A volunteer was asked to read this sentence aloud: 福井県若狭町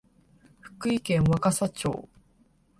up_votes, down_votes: 5, 0